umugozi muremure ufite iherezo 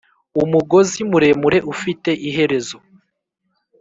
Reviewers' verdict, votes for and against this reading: accepted, 2, 1